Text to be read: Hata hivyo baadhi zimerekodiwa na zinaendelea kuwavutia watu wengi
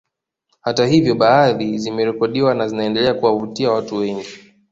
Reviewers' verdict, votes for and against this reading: accepted, 2, 0